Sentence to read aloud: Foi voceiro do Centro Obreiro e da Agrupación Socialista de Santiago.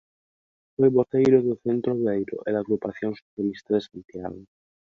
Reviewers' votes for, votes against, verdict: 0, 2, rejected